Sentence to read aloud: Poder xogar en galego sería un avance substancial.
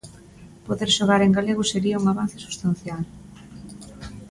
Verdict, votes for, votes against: accepted, 2, 0